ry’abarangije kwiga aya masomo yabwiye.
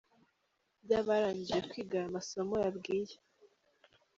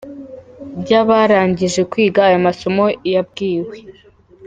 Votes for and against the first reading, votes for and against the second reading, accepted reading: 2, 0, 1, 3, first